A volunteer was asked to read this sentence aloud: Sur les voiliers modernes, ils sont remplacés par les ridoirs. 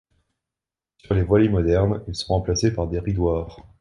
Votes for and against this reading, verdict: 1, 2, rejected